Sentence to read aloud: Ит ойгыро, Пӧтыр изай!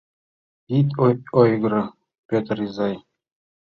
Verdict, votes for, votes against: accepted, 2, 0